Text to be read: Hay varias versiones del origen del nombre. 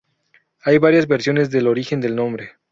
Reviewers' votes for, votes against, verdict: 0, 2, rejected